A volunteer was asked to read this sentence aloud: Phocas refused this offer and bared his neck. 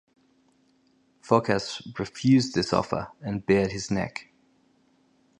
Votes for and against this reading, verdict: 4, 0, accepted